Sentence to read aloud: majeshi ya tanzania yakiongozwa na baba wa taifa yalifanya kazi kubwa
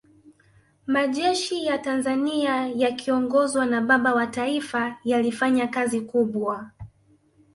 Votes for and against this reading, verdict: 2, 0, accepted